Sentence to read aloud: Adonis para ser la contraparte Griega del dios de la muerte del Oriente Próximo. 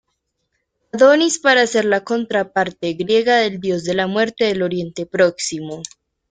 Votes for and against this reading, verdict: 2, 1, accepted